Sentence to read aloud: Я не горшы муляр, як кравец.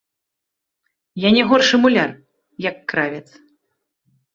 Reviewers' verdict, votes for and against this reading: accepted, 2, 1